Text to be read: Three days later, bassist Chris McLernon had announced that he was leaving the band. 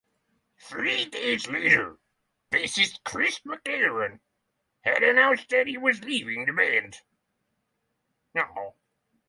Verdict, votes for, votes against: rejected, 0, 6